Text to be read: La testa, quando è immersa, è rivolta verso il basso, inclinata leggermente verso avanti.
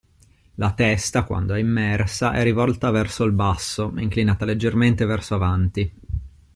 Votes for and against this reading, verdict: 2, 0, accepted